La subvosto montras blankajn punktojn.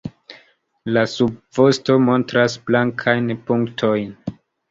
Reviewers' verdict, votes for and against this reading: accepted, 2, 1